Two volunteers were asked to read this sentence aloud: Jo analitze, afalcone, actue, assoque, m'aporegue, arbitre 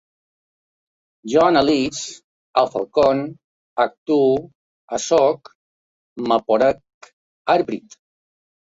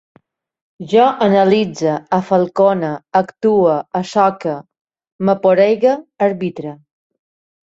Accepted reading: second